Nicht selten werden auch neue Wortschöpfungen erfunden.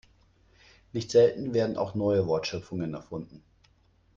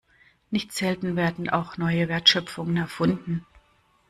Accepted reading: first